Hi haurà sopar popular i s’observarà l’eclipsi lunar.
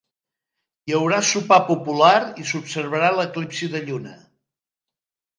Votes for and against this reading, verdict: 1, 2, rejected